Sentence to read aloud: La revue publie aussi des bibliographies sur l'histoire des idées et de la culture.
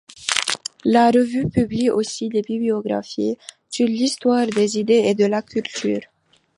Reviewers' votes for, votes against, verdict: 2, 1, accepted